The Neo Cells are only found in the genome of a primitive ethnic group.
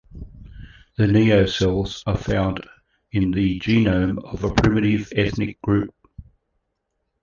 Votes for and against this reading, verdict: 0, 2, rejected